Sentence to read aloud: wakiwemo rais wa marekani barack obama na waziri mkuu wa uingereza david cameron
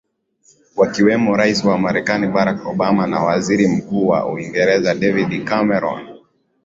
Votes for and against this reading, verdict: 0, 2, rejected